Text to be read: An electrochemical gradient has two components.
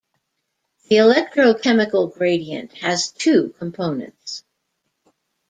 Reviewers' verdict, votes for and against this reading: rejected, 0, 2